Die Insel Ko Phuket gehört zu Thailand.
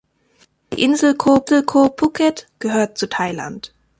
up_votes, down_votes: 0, 2